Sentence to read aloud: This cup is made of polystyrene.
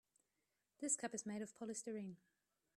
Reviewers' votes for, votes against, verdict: 0, 2, rejected